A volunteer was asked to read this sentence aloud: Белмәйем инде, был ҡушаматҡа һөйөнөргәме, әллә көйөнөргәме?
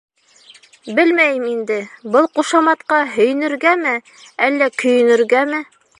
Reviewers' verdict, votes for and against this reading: rejected, 0, 2